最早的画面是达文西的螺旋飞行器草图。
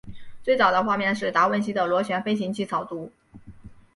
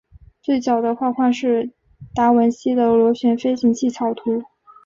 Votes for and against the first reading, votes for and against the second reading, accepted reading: 6, 1, 0, 2, first